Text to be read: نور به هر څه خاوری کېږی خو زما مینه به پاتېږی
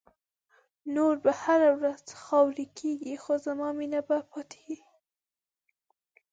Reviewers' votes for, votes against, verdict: 1, 2, rejected